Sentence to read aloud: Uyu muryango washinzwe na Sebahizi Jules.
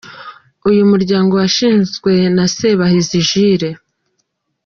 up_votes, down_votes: 2, 1